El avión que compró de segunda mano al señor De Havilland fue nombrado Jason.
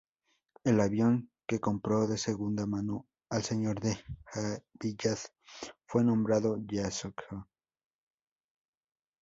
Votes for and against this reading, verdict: 0, 2, rejected